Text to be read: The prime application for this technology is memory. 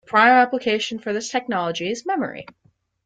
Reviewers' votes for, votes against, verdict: 1, 3, rejected